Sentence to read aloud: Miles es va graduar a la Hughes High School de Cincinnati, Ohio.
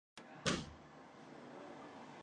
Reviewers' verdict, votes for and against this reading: rejected, 0, 3